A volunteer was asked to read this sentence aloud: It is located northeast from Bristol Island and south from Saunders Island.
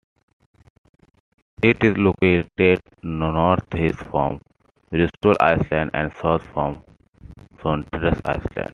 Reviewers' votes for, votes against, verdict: 0, 2, rejected